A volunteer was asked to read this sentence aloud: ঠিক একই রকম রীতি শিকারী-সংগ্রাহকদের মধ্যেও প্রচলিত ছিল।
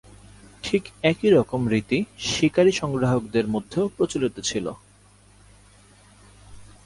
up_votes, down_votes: 12, 0